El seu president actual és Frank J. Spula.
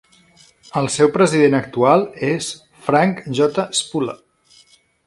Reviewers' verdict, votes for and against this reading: accepted, 3, 0